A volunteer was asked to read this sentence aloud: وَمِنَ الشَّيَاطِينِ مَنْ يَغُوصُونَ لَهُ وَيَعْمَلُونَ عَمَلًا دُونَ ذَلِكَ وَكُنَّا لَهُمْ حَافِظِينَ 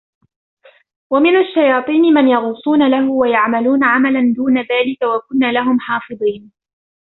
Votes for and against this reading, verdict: 3, 1, accepted